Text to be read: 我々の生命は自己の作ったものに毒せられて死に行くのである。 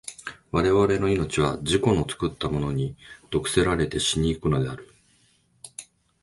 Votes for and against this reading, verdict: 5, 0, accepted